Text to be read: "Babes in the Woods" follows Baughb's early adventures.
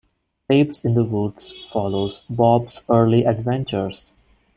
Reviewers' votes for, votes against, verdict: 0, 2, rejected